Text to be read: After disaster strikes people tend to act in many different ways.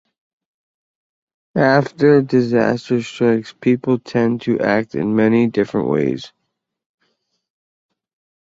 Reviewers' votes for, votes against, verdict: 2, 1, accepted